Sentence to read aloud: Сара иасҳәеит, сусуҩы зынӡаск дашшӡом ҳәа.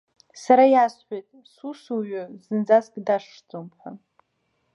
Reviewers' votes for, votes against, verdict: 0, 2, rejected